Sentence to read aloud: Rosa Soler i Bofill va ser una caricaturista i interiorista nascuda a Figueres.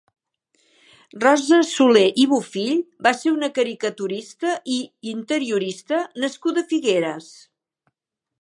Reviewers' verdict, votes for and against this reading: accepted, 3, 0